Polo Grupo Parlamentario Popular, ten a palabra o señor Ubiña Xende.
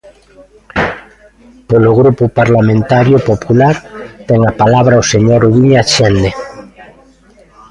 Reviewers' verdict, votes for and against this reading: rejected, 1, 2